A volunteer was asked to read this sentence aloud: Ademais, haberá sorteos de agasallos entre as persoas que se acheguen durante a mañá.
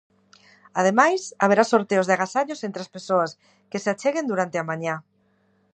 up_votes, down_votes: 2, 0